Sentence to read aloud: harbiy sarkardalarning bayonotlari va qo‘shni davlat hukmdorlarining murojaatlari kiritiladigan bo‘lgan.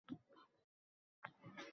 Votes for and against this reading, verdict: 0, 2, rejected